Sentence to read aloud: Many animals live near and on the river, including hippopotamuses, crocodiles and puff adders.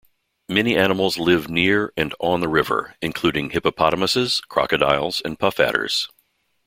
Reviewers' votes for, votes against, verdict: 2, 0, accepted